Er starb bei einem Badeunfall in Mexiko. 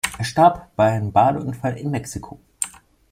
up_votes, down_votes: 2, 1